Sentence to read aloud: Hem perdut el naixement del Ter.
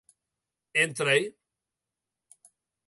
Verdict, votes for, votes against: rejected, 0, 2